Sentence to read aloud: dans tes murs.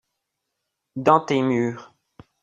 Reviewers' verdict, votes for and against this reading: accepted, 2, 1